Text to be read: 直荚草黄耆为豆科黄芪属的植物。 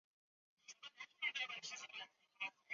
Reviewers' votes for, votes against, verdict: 0, 2, rejected